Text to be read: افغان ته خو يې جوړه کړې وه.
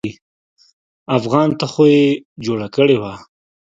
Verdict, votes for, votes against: accepted, 2, 0